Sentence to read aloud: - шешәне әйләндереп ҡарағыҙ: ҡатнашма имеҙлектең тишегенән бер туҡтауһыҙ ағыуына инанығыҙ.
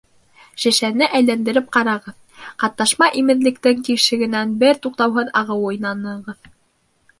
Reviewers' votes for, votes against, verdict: 1, 2, rejected